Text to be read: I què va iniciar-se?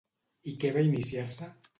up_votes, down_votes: 2, 0